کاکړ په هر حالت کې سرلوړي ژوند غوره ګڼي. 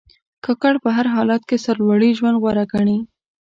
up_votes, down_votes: 2, 0